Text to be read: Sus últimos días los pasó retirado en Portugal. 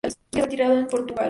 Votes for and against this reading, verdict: 0, 2, rejected